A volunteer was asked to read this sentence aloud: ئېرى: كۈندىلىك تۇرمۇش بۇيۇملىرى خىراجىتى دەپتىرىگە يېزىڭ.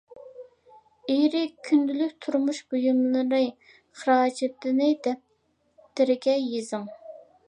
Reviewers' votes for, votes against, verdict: 0, 2, rejected